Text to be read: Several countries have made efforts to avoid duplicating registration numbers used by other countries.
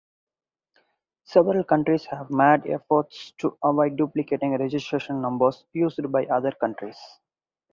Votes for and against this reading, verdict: 2, 4, rejected